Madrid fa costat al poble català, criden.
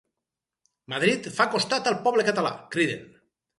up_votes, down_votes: 4, 0